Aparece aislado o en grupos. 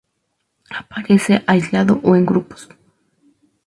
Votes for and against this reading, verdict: 2, 0, accepted